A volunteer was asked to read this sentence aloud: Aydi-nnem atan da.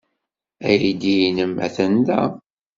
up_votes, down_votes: 1, 2